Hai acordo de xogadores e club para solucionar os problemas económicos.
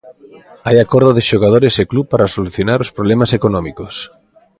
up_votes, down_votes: 2, 0